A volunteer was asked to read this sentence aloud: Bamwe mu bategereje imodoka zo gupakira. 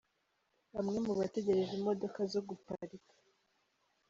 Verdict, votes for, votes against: rejected, 0, 2